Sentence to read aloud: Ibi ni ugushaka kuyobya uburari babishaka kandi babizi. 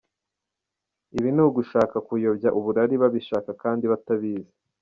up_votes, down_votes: 1, 2